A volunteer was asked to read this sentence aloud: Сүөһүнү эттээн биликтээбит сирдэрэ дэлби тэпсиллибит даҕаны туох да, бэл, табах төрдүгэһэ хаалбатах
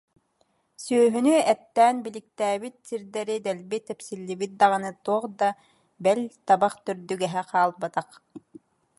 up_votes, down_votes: 2, 0